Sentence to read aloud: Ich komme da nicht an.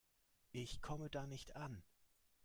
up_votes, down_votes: 2, 1